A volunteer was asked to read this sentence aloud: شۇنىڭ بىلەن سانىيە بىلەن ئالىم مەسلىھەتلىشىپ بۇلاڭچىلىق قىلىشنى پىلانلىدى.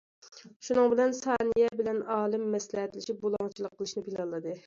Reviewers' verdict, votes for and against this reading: accepted, 2, 0